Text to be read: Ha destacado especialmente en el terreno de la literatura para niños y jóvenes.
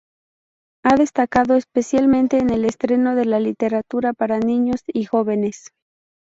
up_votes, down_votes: 0, 2